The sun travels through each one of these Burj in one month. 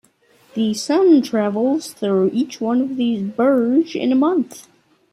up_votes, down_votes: 2, 0